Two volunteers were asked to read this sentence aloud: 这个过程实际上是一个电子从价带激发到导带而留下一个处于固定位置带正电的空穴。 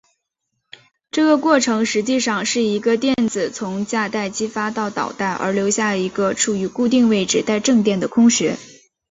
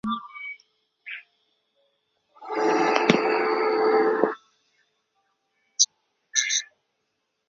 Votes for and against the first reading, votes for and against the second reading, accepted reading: 3, 1, 1, 4, first